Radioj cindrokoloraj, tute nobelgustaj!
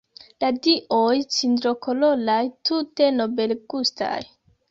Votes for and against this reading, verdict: 1, 2, rejected